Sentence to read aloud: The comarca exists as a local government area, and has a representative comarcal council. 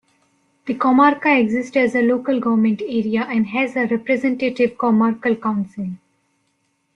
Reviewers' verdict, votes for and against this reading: accepted, 2, 1